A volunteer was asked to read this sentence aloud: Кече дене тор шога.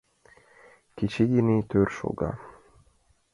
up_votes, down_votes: 0, 2